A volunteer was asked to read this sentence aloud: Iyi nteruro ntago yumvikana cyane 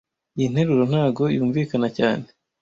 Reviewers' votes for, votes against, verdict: 2, 0, accepted